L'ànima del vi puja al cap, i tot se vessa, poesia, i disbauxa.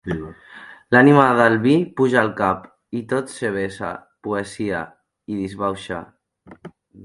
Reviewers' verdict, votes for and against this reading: accepted, 2, 0